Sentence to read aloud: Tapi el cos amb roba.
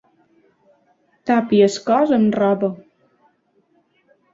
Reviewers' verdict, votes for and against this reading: accepted, 2, 1